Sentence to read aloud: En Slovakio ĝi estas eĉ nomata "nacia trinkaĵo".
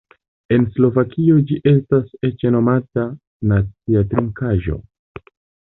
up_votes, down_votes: 1, 2